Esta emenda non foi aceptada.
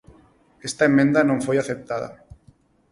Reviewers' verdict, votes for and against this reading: accepted, 4, 0